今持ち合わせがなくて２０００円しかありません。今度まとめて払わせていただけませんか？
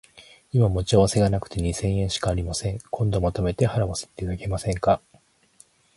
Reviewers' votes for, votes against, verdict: 0, 2, rejected